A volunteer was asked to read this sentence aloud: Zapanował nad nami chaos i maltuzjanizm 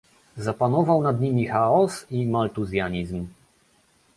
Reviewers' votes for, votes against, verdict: 0, 2, rejected